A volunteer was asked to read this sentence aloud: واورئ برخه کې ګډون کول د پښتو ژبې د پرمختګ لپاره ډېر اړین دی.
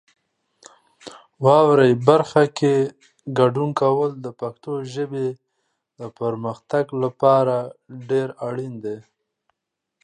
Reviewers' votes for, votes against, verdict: 2, 0, accepted